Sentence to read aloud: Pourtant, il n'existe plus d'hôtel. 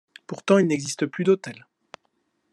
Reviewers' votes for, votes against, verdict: 2, 0, accepted